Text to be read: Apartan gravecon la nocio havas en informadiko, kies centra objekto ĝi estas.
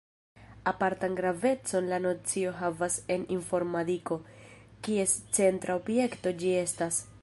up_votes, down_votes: 1, 2